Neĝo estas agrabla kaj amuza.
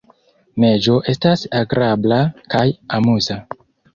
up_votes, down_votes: 2, 0